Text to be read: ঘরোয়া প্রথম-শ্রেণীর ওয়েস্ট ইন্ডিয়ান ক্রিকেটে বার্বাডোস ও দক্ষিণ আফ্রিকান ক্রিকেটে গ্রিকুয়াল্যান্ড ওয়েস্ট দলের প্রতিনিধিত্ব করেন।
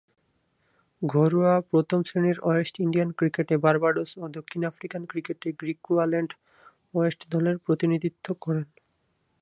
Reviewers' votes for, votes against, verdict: 0, 2, rejected